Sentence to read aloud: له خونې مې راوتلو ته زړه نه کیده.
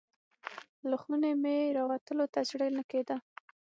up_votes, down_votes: 3, 6